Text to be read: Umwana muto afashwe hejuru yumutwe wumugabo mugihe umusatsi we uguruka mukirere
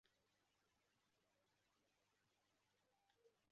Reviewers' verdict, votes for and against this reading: rejected, 0, 2